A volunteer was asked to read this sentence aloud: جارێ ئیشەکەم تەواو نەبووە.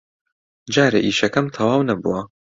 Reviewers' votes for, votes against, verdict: 2, 0, accepted